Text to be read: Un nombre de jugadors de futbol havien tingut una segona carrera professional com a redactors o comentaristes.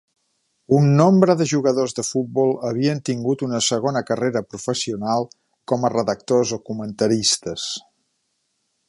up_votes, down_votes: 2, 1